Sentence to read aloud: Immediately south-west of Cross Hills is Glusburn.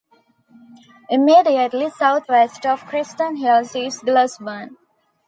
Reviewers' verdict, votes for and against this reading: rejected, 0, 2